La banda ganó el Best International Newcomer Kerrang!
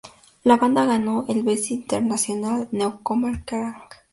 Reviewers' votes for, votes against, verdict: 2, 4, rejected